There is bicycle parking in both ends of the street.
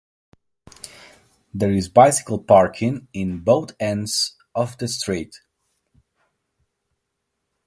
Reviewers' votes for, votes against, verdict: 2, 1, accepted